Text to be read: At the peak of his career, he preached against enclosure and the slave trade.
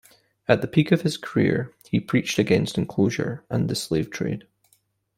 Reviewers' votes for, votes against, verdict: 2, 0, accepted